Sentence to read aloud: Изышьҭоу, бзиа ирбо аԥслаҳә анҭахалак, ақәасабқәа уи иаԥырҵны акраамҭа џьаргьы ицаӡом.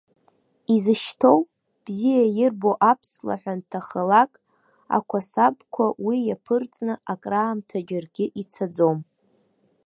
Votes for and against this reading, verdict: 2, 1, accepted